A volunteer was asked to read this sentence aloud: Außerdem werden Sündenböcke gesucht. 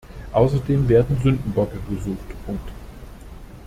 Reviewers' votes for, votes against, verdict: 0, 2, rejected